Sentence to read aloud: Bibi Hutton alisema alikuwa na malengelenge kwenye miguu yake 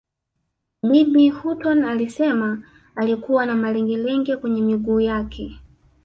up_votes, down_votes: 1, 2